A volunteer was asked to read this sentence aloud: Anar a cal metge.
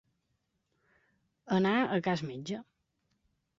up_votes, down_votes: 1, 3